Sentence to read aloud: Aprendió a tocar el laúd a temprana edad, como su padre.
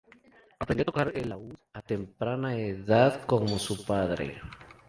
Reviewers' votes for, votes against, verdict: 2, 0, accepted